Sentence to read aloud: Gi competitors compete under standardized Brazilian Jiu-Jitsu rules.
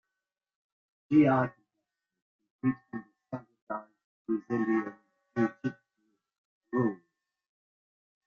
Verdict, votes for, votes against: rejected, 0, 2